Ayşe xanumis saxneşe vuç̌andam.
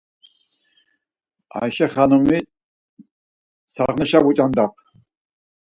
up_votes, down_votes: 4, 2